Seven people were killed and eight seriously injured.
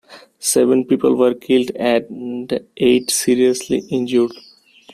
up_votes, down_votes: 2, 0